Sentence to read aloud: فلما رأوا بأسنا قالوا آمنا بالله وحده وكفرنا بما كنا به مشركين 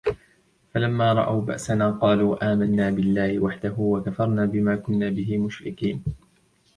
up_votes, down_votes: 2, 0